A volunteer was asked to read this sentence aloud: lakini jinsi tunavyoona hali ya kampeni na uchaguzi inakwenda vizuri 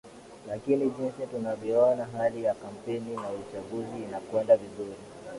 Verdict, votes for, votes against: accepted, 2, 0